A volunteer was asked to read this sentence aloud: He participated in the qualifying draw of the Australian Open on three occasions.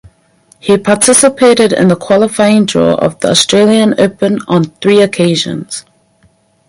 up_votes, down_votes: 4, 0